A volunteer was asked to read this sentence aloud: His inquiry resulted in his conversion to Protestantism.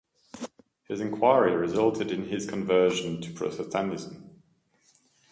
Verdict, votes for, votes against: rejected, 0, 2